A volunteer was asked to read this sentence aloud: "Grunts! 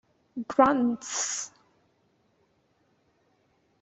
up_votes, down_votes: 2, 0